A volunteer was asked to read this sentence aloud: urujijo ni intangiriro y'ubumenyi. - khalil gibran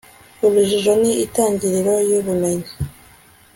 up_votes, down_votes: 0, 2